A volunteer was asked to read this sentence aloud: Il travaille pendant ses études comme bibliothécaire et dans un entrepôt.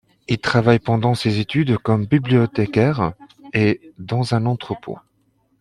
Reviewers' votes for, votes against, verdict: 2, 0, accepted